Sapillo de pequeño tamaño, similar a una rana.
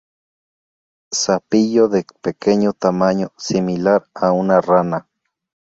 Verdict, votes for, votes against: accepted, 4, 0